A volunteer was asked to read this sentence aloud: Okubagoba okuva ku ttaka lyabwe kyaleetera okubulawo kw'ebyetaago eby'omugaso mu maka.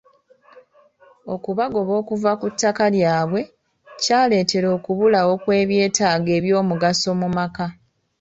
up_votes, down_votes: 2, 0